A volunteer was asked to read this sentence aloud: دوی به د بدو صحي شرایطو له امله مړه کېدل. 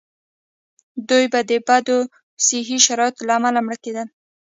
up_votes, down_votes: 1, 2